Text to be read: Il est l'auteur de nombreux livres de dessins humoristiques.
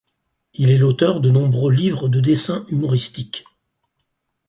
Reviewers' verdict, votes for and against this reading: accepted, 4, 0